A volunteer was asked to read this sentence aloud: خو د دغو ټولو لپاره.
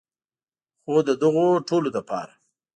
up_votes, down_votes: 2, 0